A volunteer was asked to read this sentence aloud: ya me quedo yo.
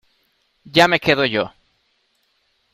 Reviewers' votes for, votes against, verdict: 2, 0, accepted